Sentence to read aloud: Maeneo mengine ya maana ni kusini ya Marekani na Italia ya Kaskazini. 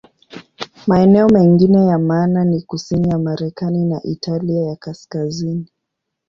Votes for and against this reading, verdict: 2, 1, accepted